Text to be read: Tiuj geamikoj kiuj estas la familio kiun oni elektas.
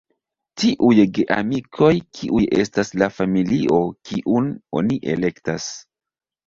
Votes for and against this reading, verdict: 0, 2, rejected